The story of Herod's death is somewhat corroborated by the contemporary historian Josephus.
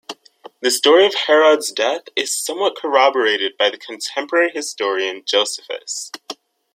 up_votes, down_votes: 2, 0